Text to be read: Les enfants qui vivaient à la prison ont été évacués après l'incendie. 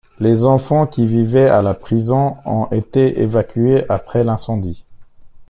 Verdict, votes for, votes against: rejected, 1, 2